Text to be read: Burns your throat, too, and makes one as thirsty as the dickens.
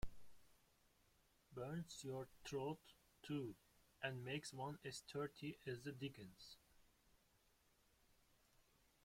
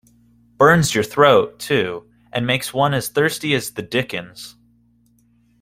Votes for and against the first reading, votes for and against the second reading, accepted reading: 0, 2, 2, 0, second